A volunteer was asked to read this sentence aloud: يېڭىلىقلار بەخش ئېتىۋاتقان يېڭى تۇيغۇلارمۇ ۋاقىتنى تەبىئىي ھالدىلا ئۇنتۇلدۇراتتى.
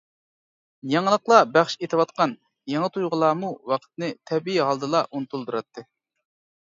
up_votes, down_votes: 2, 0